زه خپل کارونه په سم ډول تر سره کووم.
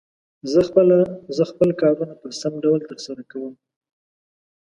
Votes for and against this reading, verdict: 0, 2, rejected